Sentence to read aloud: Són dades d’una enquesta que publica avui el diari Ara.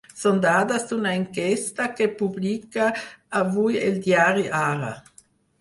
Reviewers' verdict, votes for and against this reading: accepted, 6, 0